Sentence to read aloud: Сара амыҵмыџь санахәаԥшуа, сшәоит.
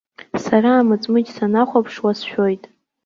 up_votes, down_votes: 2, 0